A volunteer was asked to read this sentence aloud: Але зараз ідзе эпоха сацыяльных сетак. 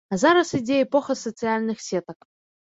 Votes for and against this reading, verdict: 2, 4, rejected